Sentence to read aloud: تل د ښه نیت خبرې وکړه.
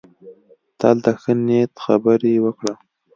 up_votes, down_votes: 2, 0